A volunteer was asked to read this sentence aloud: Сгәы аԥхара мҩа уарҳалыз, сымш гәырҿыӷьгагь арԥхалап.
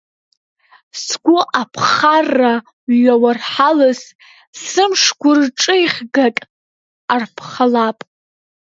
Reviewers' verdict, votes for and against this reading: rejected, 0, 3